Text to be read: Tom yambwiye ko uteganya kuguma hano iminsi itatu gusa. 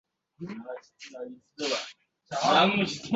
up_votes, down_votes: 0, 2